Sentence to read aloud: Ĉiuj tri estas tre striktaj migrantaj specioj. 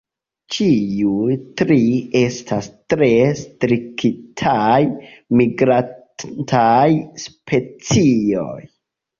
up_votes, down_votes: 1, 2